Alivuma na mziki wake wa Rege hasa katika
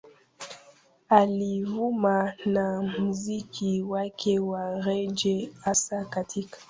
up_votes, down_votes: 1, 2